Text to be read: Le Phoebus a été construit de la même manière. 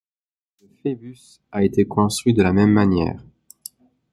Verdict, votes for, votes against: rejected, 0, 2